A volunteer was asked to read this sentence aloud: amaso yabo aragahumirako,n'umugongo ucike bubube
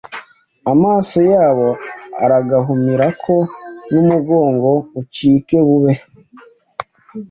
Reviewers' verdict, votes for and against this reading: rejected, 1, 2